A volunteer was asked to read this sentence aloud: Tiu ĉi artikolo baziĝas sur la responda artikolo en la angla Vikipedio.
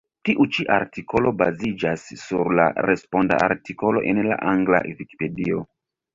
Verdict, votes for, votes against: accepted, 2, 0